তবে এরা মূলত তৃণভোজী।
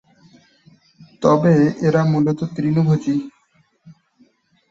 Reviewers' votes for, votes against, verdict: 2, 1, accepted